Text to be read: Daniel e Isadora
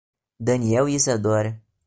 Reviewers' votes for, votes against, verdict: 2, 0, accepted